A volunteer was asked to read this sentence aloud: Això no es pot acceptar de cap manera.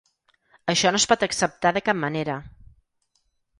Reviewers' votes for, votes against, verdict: 6, 0, accepted